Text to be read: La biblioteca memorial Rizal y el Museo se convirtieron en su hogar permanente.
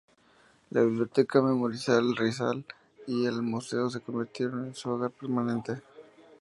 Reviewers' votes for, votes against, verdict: 2, 0, accepted